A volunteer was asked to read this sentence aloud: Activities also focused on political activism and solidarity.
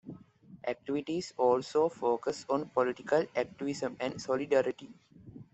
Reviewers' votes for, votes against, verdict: 2, 0, accepted